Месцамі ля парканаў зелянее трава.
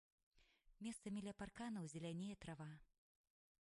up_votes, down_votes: 2, 3